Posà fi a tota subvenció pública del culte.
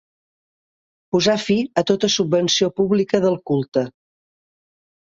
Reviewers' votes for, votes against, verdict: 2, 0, accepted